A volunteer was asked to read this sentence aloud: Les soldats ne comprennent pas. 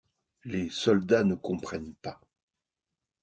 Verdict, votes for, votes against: accepted, 2, 0